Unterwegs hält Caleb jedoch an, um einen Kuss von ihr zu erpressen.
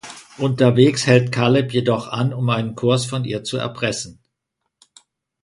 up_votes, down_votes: 1, 2